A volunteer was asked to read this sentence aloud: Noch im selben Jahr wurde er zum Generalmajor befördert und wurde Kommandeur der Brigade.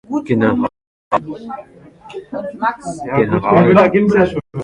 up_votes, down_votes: 0, 2